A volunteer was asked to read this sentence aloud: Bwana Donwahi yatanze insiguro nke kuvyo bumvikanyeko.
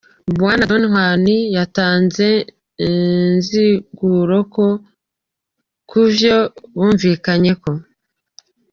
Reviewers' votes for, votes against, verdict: 1, 2, rejected